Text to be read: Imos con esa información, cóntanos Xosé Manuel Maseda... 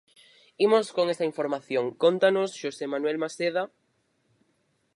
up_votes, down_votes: 2, 4